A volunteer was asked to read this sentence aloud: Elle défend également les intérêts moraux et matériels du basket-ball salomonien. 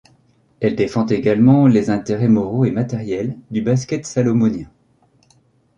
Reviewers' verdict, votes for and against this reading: rejected, 1, 2